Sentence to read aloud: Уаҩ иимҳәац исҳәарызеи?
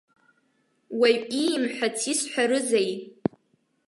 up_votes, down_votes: 2, 0